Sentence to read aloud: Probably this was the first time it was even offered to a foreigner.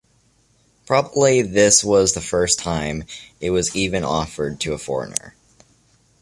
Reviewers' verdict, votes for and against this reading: accepted, 2, 0